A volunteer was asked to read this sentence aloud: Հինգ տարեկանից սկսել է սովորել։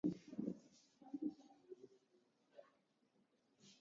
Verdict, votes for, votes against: rejected, 0, 2